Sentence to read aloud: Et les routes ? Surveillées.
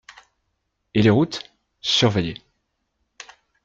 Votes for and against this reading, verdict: 2, 0, accepted